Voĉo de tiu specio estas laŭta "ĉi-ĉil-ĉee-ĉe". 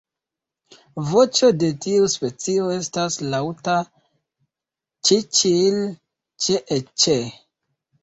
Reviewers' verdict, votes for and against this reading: accepted, 2, 0